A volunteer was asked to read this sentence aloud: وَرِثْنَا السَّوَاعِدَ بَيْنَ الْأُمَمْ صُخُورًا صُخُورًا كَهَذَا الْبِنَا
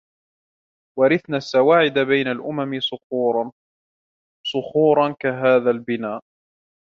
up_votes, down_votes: 2, 0